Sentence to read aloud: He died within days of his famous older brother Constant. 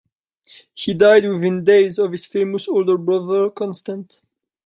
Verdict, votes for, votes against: rejected, 1, 2